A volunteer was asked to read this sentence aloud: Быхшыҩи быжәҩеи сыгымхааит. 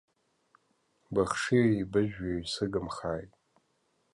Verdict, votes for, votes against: accepted, 2, 0